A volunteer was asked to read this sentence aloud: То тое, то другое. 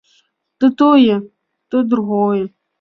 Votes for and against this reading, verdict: 2, 0, accepted